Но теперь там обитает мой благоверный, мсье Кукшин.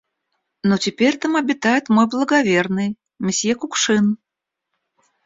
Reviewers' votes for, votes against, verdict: 2, 0, accepted